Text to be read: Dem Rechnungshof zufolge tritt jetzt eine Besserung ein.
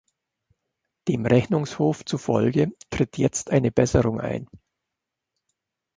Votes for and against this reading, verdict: 2, 0, accepted